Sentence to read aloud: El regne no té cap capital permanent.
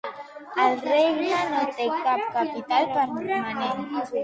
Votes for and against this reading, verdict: 1, 2, rejected